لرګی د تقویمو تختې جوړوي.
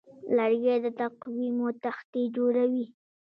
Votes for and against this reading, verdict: 0, 2, rejected